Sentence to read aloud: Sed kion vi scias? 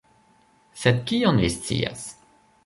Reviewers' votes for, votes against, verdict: 1, 2, rejected